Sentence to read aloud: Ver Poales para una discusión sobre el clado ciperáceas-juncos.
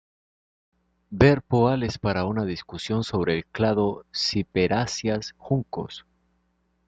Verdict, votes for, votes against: accepted, 2, 0